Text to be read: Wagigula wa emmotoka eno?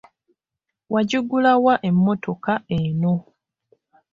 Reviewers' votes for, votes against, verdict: 2, 0, accepted